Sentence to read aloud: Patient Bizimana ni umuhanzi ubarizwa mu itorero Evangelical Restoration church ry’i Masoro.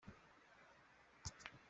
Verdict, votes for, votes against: rejected, 0, 2